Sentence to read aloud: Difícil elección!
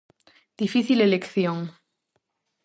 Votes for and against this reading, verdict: 4, 0, accepted